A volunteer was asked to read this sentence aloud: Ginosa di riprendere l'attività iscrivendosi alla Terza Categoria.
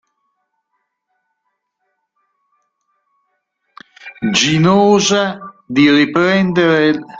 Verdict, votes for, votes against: rejected, 0, 2